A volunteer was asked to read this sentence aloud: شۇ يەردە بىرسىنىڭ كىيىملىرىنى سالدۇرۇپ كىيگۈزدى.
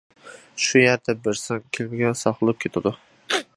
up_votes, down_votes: 0, 2